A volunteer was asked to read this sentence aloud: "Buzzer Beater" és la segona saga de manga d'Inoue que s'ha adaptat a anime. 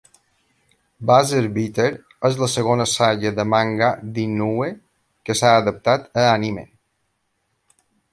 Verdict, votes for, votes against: accepted, 2, 0